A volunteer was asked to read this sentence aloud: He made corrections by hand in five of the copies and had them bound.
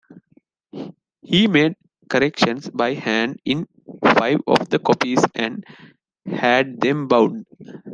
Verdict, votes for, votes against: accepted, 3, 0